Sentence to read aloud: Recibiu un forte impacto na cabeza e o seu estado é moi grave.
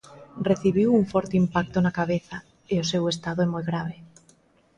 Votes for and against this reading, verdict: 2, 0, accepted